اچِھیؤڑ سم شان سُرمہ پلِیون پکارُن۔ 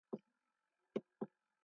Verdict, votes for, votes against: rejected, 0, 2